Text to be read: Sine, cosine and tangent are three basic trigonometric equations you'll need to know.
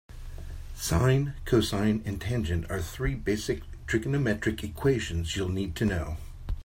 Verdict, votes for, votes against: accepted, 2, 0